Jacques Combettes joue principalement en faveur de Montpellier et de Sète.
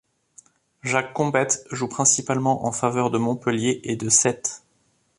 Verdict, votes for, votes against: accepted, 2, 0